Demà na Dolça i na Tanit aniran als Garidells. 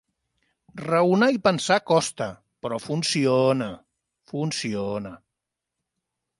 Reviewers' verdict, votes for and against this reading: rejected, 1, 2